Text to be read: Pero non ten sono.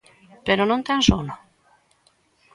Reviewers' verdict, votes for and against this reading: accepted, 2, 0